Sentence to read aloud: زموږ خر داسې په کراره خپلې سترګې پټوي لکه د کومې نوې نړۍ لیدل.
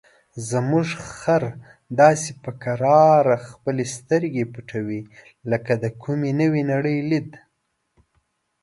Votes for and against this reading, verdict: 0, 2, rejected